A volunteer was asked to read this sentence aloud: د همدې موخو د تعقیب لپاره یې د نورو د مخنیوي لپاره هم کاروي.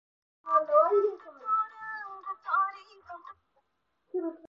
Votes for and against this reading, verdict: 0, 4, rejected